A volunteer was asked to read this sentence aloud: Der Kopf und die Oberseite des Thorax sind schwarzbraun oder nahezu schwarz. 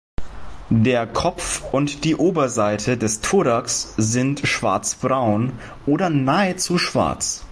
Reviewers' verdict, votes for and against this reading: accepted, 2, 1